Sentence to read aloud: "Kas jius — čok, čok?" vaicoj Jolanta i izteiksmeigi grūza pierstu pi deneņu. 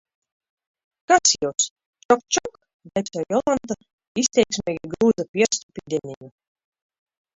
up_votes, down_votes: 0, 2